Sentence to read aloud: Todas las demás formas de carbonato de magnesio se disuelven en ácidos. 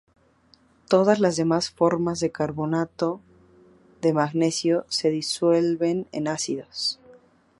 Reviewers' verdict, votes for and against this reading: rejected, 0, 2